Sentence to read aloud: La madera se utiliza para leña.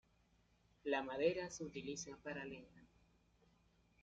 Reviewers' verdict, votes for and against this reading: rejected, 0, 2